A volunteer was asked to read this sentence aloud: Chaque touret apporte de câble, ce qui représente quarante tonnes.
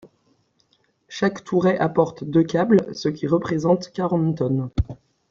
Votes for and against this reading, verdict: 1, 2, rejected